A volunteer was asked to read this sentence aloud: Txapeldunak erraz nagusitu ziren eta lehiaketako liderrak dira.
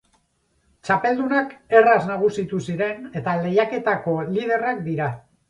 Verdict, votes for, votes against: accepted, 4, 0